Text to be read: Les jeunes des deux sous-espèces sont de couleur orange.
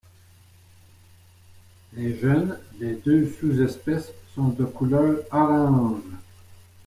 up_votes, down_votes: 0, 2